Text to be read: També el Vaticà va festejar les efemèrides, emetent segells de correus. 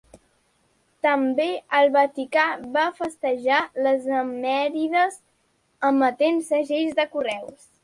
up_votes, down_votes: 0, 2